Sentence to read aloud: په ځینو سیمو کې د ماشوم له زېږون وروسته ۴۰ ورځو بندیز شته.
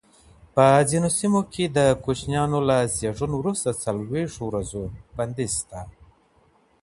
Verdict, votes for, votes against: rejected, 0, 2